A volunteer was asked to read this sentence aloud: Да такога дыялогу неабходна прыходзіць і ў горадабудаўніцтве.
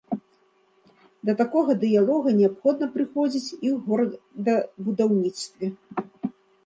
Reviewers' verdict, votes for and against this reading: rejected, 0, 2